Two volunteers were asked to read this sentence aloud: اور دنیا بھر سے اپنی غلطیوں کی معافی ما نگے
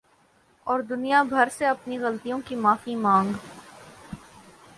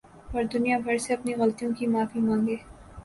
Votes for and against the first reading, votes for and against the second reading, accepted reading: 0, 2, 2, 0, second